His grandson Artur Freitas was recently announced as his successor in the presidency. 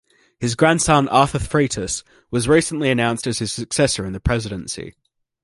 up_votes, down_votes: 1, 2